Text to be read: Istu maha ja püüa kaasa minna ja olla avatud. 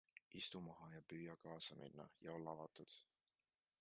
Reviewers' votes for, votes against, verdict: 1, 2, rejected